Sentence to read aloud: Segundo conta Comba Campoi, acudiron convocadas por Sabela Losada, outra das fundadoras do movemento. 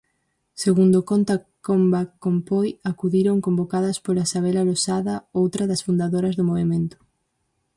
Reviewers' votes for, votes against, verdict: 0, 4, rejected